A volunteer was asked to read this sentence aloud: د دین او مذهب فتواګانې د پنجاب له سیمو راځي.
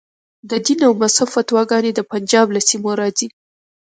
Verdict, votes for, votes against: rejected, 0, 2